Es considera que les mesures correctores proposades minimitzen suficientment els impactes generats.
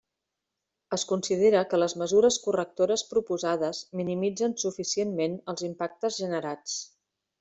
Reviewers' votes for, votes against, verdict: 3, 0, accepted